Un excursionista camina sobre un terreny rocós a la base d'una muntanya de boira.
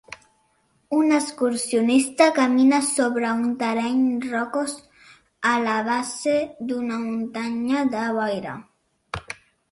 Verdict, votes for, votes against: rejected, 1, 2